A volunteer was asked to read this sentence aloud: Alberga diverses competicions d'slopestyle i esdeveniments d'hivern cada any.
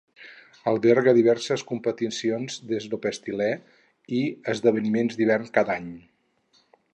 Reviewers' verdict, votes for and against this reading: rejected, 0, 4